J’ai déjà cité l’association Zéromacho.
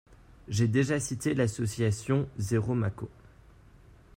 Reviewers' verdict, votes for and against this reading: rejected, 1, 2